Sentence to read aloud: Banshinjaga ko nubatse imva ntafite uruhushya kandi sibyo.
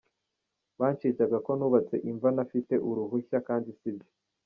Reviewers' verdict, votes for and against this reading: accepted, 2, 1